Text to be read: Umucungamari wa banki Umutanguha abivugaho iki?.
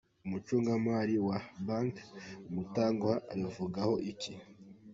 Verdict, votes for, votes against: accepted, 2, 1